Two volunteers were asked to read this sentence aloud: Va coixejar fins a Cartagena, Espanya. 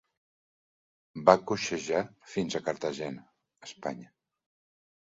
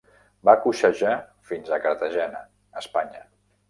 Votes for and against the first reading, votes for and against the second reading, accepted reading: 3, 0, 1, 2, first